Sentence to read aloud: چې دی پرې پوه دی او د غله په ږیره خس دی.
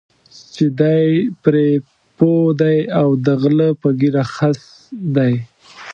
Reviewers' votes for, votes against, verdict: 2, 0, accepted